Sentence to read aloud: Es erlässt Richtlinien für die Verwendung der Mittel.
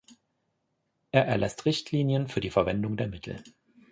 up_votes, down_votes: 1, 2